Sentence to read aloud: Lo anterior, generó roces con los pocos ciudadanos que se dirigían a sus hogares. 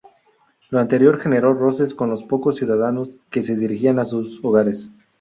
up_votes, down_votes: 2, 0